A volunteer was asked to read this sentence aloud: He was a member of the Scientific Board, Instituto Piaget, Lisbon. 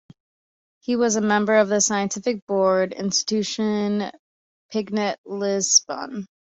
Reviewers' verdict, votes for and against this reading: rejected, 0, 2